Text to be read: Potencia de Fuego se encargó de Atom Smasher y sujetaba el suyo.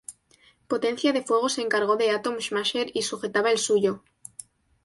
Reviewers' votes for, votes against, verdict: 2, 0, accepted